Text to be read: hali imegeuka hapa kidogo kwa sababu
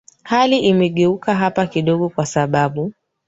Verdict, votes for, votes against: accepted, 2, 0